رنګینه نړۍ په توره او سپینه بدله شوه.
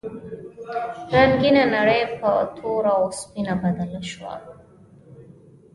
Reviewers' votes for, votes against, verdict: 1, 2, rejected